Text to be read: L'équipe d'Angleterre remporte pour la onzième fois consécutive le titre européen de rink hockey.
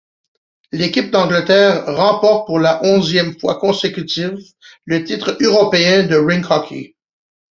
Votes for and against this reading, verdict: 2, 0, accepted